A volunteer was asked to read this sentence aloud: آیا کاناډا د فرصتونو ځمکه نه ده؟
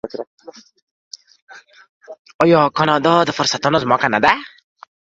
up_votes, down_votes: 2, 0